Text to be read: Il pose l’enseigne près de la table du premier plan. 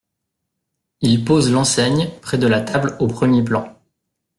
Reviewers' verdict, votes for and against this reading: rejected, 0, 2